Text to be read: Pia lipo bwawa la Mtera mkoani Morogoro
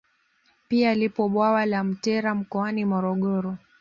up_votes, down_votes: 2, 0